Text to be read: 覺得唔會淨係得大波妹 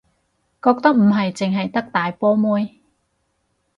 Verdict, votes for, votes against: rejected, 2, 2